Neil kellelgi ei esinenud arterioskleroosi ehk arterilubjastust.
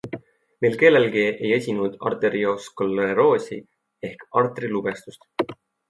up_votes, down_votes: 2, 0